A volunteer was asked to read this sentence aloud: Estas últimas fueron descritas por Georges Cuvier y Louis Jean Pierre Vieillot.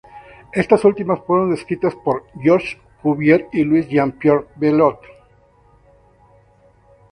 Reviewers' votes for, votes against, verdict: 2, 0, accepted